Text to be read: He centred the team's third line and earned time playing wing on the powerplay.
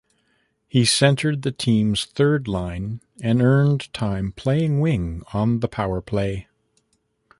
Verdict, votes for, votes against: accepted, 2, 0